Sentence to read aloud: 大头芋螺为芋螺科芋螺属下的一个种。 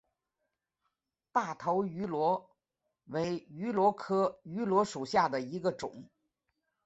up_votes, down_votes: 3, 1